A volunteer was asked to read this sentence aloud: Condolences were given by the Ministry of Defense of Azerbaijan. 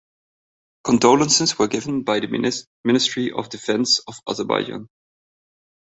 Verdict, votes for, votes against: rejected, 2, 4